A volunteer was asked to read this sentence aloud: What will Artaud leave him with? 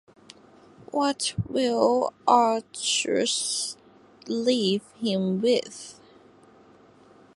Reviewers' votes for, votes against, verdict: 1, 2, rejected